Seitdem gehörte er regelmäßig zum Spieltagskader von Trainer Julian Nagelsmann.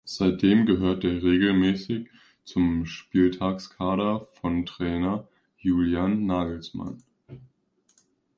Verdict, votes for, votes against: accepted, 2, 0